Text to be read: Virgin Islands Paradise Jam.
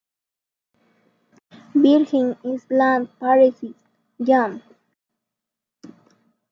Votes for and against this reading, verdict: 0, 2, rejected